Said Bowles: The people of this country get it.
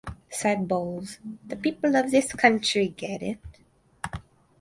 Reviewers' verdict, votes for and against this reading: accepted, 4, 0